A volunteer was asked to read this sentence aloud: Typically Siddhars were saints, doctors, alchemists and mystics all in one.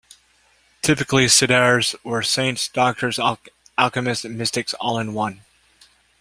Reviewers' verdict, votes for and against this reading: rejected, 0, 2